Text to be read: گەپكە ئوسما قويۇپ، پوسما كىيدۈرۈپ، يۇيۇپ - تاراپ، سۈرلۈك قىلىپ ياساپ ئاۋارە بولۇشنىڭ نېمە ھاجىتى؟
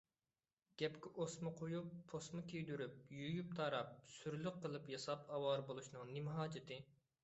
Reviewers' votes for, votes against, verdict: 2, 0, accepted